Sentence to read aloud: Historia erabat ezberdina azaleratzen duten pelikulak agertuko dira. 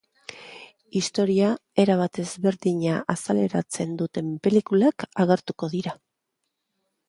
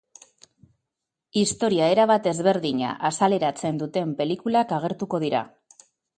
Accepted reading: first